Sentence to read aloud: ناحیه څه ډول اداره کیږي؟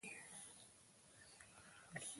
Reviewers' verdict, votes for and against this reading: accepted, 2, 0